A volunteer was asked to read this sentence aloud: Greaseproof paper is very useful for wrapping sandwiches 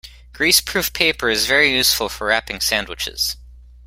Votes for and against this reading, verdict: 2, 0, accepted